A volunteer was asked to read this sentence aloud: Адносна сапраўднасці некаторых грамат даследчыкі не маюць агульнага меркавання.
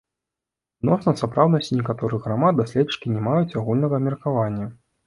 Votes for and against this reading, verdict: 1, 2, rejected